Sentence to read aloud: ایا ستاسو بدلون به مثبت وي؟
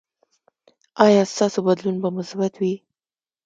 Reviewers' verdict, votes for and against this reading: rejected, 1, 2